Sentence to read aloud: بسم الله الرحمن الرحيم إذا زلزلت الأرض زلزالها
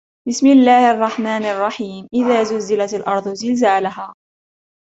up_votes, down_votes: 0, 2